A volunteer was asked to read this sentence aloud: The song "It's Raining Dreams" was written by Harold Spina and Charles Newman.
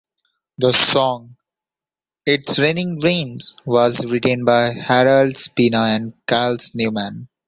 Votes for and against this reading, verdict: 1, 2, rejected